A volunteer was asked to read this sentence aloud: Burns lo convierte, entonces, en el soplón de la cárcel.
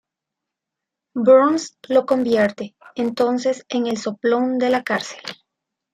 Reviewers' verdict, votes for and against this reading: accepted, 2, 0